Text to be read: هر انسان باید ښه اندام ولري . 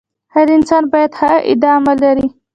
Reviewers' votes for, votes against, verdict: 1, 2, rejected